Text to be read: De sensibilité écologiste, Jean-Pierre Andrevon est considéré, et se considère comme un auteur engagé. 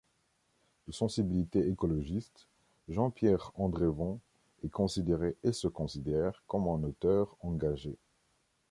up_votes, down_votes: 2, 0